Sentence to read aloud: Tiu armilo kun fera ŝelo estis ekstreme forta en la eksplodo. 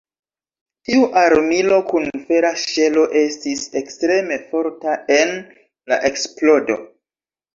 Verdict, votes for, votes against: accepted, 2, 0